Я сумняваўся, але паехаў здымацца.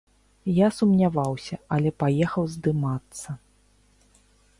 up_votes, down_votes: 3, 0